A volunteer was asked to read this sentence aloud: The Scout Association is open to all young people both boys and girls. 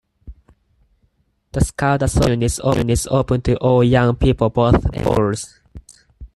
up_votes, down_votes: 0, 4